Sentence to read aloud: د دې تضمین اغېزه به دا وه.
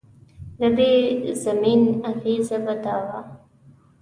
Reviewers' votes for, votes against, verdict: 0, 2, rejected